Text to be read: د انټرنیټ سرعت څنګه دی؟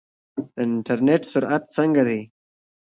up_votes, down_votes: 1, 2